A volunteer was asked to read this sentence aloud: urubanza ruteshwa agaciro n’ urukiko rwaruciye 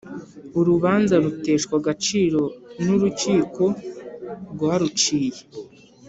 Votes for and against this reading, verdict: 3, 0, accepted